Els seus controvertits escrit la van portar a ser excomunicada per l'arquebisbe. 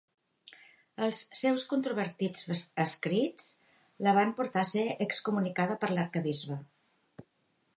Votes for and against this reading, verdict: 1, 2, rejected